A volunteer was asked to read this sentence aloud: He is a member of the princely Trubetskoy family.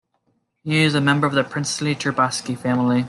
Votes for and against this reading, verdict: 2, 0, accepted